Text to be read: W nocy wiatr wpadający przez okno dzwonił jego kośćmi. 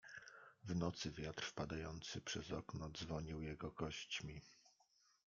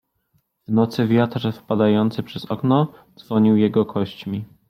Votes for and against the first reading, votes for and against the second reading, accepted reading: 1, 2, 2, 0, second